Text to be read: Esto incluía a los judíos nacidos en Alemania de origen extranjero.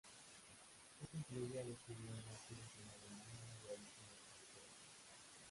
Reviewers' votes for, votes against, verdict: 0, 2, rejected